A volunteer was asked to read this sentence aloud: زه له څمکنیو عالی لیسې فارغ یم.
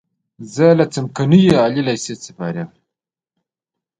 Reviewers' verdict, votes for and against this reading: rejected, 1, 2